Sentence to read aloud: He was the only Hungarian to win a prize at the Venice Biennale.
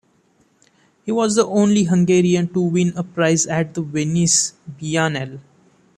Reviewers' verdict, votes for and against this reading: accepted, 2, 0